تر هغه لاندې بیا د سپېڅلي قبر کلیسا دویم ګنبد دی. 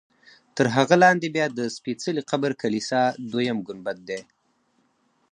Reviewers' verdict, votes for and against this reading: accepted, 4, 0